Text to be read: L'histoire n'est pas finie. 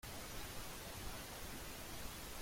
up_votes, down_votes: 1, 2